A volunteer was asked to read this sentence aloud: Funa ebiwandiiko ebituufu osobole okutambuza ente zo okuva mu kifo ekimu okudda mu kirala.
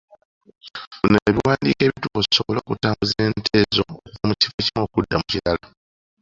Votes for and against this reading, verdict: 2, 1, accepted